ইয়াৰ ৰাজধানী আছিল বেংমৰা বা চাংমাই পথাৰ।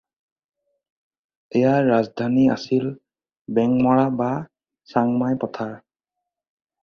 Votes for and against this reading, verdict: 4, 0, accepted